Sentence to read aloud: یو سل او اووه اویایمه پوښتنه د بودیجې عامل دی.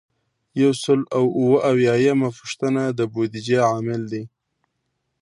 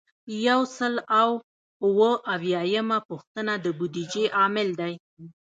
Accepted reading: first